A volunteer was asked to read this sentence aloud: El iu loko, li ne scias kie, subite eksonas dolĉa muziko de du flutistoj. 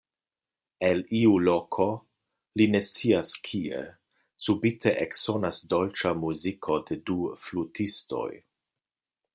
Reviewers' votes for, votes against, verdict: 2, 0, accepted